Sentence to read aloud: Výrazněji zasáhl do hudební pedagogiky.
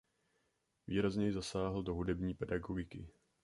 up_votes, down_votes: 2, 0